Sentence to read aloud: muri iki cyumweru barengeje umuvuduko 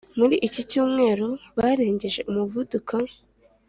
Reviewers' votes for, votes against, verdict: 3, 0, accepted